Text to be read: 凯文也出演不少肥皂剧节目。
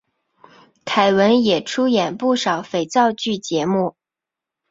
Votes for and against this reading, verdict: 3, 2, accepted